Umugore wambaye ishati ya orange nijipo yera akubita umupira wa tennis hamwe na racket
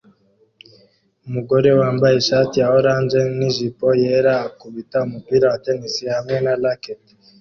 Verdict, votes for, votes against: accepted, 2, 0